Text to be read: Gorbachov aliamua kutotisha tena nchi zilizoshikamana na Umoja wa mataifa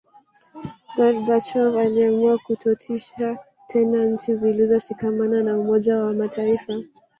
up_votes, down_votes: 1, 2